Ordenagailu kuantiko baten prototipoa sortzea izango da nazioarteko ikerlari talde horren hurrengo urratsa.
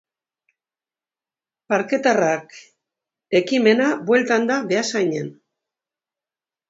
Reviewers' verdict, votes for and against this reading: rejected, 0, 2